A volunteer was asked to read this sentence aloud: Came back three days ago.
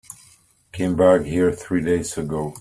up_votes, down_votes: 0, 2